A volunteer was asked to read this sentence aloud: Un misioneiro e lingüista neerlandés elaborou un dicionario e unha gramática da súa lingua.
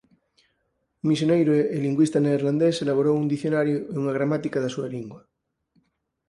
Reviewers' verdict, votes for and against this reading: rejected, 0, 4